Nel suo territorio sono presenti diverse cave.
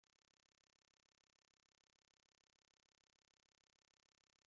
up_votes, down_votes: 0, 2